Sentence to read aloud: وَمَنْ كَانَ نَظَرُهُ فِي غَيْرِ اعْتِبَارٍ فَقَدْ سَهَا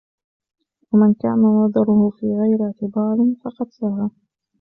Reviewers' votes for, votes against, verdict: 1, 2, rejected